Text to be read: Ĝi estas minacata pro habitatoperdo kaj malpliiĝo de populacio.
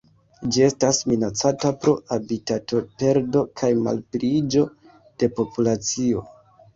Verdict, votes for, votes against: accepted, 2, 0